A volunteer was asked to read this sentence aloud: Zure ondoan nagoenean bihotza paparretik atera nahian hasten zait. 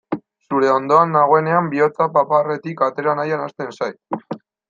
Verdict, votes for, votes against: accepted, 2, 0